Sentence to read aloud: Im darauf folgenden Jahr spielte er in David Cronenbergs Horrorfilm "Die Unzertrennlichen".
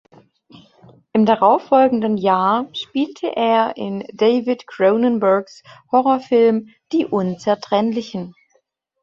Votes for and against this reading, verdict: 2, 1, accepted